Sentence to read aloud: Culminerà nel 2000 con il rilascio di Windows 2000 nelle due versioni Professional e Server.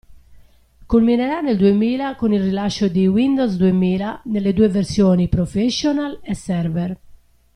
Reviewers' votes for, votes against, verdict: 0, 2, rejected